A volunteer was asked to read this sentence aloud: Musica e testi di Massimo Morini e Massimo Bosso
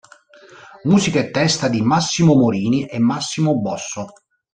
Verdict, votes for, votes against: rejected, 1, 2